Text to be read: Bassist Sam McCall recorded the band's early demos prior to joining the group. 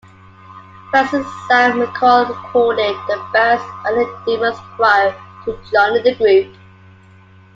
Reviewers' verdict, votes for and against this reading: accepted, 2, 1